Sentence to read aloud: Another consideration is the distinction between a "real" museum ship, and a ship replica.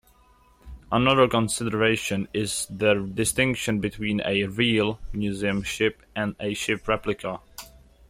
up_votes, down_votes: 2, 0